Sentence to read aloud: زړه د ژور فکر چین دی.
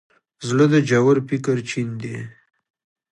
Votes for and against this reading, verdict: 3, 0, accepted